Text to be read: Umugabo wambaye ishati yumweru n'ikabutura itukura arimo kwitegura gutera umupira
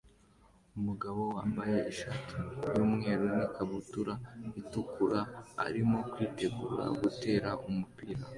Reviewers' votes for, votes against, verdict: 2, 0, accepted